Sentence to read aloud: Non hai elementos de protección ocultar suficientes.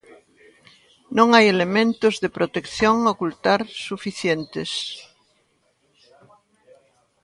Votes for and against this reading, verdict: 0, 2, rejected